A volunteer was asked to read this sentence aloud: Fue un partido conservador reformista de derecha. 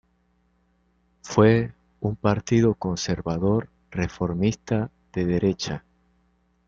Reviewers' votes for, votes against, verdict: 2, 0, accepted